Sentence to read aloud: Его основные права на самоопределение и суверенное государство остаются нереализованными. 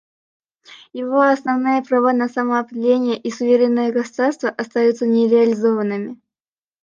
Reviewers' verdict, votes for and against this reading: accepted, 2, 0